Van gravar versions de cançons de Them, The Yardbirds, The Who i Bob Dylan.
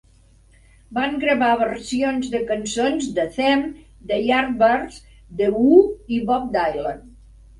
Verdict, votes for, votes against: rejected, 1, 2